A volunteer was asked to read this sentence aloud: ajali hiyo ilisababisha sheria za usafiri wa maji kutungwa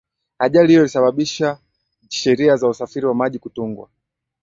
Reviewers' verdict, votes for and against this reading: accepted, 2, 0